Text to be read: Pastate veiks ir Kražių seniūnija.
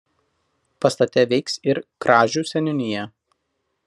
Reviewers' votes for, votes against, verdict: 2, 0, accepted